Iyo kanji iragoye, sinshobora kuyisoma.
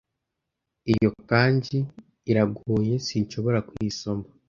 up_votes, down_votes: 2, 0